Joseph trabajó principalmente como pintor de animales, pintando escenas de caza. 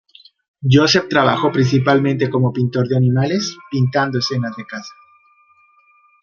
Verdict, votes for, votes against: accepted, 2, 0